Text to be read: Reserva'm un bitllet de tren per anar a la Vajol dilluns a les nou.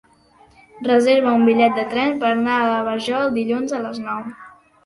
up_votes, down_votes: 0, 2